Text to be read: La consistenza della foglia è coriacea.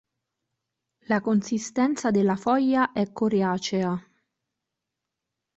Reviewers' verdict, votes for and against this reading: accepted, 2, 0